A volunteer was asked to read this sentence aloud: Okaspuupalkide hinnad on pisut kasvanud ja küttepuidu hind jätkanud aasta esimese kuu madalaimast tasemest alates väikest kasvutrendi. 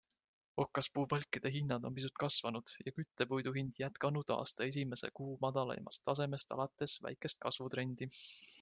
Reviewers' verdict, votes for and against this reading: accepted, 2, 0